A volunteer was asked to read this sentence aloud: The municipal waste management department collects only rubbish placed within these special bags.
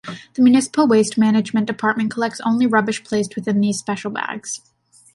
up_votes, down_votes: 2, 0